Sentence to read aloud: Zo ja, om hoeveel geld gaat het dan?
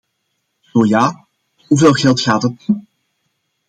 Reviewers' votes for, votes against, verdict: 1, 2, rejected